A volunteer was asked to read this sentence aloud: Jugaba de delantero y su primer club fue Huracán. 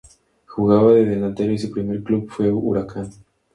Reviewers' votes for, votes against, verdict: 2, 0, accepted